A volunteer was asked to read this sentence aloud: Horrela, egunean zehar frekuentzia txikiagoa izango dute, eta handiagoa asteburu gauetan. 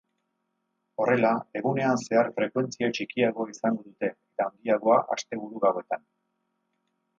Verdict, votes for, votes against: rejected, 0, 2